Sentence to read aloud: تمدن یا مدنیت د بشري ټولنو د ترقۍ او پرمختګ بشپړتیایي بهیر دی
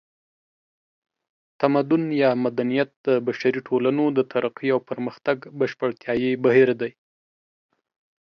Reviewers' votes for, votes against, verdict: 2, 0, accepted